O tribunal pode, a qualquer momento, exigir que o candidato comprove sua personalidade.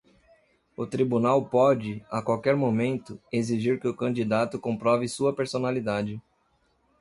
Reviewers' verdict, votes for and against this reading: accepted, 2, 0